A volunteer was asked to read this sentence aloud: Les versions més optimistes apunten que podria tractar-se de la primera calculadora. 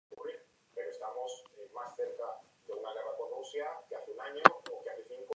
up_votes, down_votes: 1, 2